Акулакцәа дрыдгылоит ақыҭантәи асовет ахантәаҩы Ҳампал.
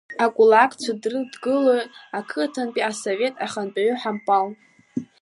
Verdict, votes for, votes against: accepted, 2, 0